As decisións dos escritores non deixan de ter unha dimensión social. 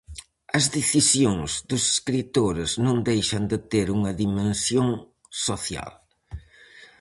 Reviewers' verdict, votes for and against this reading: accepted, 4, 0